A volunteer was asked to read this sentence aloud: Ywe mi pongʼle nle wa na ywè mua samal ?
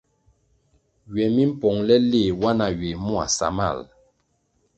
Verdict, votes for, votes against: accepted, 2, 0